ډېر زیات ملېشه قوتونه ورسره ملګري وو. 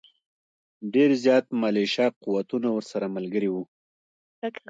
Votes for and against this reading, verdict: 0, 2, rejected